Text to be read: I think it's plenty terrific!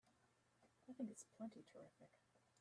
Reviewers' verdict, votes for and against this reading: rejected, 0, 2